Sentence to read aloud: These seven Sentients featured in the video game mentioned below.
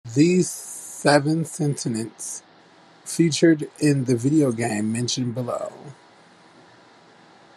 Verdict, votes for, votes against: rejected, 0, 2